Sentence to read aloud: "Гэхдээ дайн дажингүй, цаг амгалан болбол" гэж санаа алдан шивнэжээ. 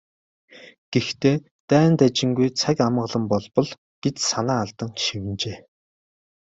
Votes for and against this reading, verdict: 3, 0, accepted